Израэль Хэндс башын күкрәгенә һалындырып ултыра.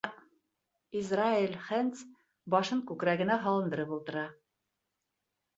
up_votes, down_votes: 2, 1